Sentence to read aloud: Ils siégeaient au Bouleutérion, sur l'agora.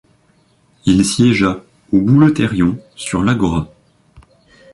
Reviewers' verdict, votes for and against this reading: rejected, 0, 2